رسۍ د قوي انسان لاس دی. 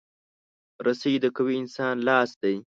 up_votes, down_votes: 2, 0